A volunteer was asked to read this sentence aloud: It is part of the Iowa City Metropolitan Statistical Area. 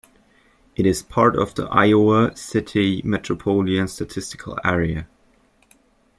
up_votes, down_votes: 0, 2